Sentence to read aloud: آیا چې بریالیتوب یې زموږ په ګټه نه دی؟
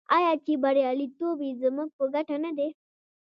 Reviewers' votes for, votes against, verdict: 2, 0, accepted